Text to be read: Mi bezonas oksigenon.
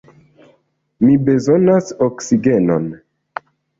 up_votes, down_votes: 2, 0